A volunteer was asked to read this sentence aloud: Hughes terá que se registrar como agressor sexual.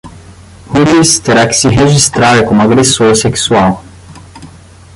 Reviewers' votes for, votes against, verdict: 0, 10, rejected